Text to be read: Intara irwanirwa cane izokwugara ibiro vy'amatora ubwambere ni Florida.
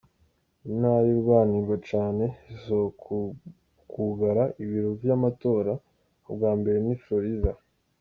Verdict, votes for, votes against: rejected, 1, 2